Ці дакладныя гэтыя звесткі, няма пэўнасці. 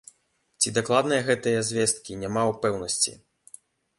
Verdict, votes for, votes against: rejected, 1, 2